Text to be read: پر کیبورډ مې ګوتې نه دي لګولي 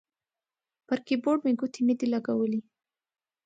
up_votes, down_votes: 6, 0